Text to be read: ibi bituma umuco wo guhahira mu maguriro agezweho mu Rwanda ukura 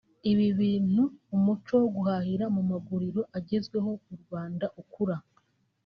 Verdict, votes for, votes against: rejected, 0, 2